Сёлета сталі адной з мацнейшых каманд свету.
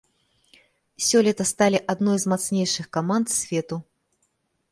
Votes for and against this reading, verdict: 2, 0, accepted